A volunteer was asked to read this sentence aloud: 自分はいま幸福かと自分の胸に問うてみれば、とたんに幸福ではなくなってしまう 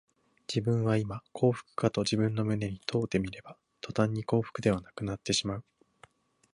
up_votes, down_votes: 1, 2